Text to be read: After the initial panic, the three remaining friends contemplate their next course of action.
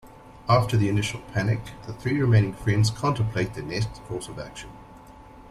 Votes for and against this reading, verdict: 2, 0, accepted